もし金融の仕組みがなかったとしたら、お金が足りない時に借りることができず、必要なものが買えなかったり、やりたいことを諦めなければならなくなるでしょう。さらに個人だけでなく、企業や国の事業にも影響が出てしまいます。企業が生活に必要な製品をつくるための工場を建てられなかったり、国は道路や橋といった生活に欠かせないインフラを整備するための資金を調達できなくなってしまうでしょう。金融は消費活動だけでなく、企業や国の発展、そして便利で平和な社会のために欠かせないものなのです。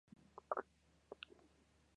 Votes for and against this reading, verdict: 0, 2, rejected